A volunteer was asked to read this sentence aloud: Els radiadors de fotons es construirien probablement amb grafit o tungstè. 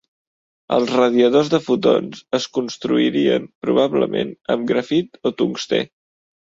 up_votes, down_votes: 3, 0